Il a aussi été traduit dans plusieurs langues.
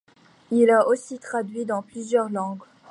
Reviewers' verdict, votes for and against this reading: rejected, 0, 2